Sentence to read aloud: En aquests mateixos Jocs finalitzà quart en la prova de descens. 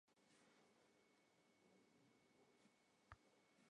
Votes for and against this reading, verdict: 0, 2, rejected